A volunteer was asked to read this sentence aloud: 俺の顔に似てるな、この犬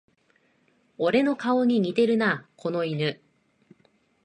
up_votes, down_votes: 3, 0